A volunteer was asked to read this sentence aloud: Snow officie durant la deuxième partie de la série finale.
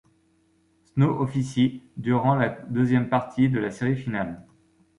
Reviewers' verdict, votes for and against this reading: rejected, 1, 2